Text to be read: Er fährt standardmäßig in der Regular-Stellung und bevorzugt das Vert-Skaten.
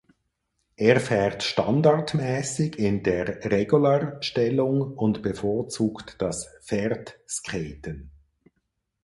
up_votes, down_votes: 2, 4